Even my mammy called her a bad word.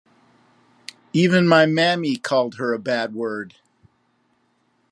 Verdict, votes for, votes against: rejected, 1, 2